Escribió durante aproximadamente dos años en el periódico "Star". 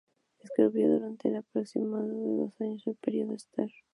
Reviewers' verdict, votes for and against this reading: rejected, 0, 2